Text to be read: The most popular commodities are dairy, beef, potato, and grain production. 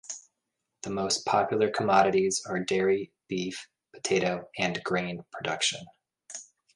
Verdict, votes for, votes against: accepted, 2, 0